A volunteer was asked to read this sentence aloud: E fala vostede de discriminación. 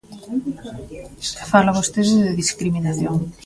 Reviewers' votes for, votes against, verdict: 1, 2, rejected